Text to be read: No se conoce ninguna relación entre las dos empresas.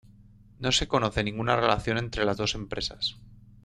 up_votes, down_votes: 2, 0